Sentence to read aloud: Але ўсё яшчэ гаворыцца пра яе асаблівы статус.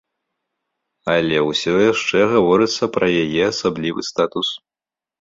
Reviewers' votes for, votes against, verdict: 2, 0, accepted